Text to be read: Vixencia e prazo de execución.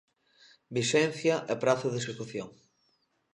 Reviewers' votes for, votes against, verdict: 2, 0, accepted